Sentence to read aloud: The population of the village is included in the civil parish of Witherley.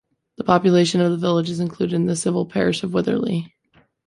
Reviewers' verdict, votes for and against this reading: accepted, 2, 0